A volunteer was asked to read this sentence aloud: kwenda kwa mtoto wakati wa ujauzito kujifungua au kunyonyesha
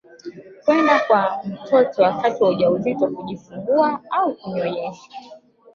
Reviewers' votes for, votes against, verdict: 2, 0, accepted